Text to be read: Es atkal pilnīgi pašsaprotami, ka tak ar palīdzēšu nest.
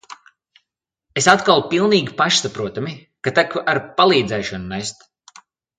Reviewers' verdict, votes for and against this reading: rejected, 1, 2